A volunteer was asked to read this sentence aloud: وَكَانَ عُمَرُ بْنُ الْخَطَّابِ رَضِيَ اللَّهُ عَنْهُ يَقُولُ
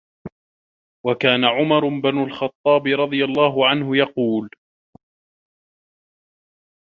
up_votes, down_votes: 1, 2